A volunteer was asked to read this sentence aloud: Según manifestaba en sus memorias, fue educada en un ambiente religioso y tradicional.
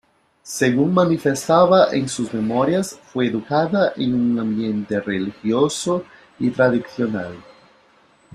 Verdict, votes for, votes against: accepted, 2, 0